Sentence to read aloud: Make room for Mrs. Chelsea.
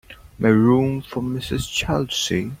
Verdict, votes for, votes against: rejected, 2, 3